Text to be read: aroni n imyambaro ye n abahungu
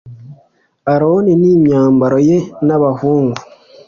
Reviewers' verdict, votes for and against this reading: accepted, 2, 0